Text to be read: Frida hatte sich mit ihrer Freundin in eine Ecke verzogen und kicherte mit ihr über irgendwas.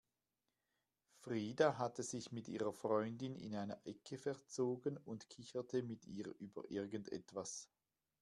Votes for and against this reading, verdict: 1, 2, rejected